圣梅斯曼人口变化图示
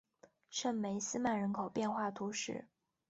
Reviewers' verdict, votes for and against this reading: accepted, 5, 0